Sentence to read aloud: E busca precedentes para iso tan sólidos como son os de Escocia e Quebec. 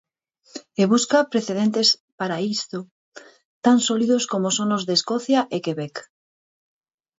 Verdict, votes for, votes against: rejected, 2, 4